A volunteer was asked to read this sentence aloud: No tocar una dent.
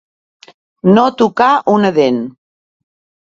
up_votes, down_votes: 2, 0